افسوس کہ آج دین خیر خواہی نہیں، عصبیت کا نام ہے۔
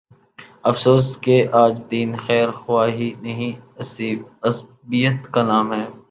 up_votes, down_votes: 2, 5